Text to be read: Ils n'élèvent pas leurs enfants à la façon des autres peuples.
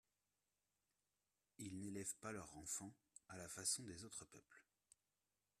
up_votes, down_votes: 2, 1